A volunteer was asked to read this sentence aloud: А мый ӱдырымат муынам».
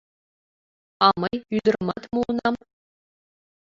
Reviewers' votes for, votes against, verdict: 0, 2, rejected